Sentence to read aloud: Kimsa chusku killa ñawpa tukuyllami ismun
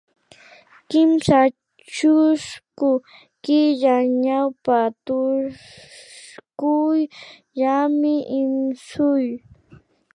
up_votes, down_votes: 0, 2